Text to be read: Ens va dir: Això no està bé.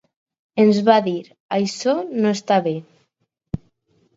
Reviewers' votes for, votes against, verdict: 2, 2, rejected